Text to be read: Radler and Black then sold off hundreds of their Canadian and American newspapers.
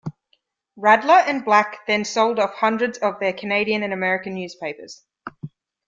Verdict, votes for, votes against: accepted, 2, 0